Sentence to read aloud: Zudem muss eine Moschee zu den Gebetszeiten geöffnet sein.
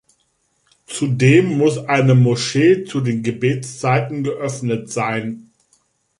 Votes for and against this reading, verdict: 4, 0, accepted